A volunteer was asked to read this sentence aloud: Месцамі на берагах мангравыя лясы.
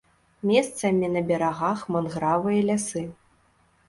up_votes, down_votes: 0, 2